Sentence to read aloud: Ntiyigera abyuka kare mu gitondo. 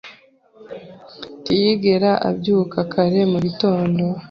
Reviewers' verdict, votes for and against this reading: accepted, 2, 0